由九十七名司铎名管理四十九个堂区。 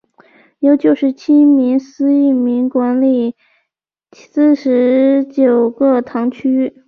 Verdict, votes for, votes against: accepted, 3, 0